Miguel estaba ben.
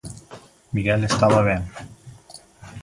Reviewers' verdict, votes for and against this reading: accepted, 2, 0